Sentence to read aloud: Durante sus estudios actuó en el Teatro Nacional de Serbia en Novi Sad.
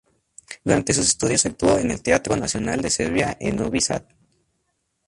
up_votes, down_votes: 4, 0